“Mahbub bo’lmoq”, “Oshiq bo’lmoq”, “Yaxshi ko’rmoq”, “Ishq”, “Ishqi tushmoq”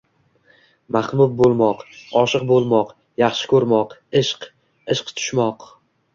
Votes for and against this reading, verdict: 1, 2, rejected